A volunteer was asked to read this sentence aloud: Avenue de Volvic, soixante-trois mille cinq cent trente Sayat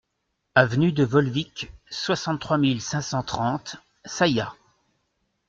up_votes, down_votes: 2, 0